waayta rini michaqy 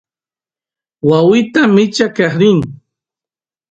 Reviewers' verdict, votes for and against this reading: rejected, 0, 2